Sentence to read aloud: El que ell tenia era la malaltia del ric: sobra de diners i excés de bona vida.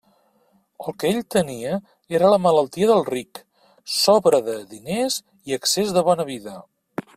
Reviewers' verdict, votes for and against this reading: accepted, 2, 0